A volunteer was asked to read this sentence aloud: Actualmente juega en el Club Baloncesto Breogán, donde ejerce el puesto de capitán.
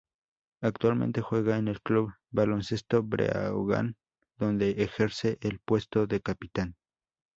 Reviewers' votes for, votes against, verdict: 2, 0, accepted